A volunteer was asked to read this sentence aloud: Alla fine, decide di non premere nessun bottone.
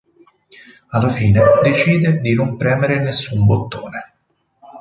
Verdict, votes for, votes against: rejected, 2, 2